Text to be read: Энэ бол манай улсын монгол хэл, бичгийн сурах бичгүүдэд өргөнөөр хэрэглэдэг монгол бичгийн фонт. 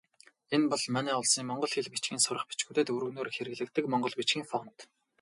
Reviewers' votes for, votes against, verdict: 2, 2, rejected